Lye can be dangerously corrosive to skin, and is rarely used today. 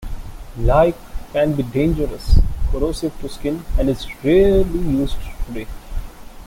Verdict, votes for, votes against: rejected, 1, 2